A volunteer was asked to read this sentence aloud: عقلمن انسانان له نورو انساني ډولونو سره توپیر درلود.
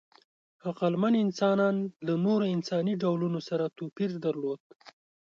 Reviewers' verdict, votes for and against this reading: accepted, 3, 0